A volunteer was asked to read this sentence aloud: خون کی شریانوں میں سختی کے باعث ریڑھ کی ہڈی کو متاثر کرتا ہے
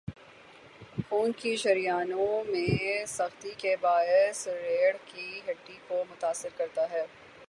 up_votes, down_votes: 3, 0